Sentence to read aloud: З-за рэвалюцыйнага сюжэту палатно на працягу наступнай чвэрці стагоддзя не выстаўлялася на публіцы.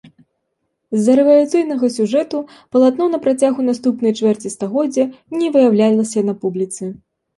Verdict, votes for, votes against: rejected, 0, 2